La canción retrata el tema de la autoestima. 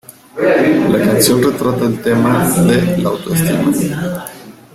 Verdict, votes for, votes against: rejected, 0, 2